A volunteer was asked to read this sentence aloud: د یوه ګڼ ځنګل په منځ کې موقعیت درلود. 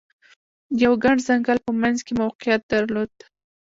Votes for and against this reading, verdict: 1, 2, rejected